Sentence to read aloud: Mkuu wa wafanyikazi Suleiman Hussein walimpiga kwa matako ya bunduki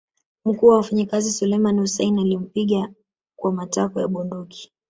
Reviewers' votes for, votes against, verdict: 0, 2, rejected